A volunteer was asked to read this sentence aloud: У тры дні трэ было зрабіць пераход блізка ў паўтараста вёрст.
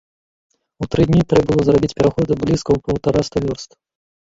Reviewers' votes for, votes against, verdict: 1, 2, rejected